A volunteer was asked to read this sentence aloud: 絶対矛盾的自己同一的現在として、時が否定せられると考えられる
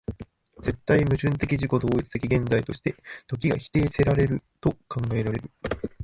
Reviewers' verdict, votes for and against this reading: rejected, 0, 2